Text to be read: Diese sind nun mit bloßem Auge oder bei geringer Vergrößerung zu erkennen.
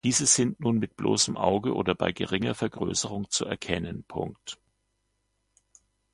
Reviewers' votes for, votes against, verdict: 0, 2, rejected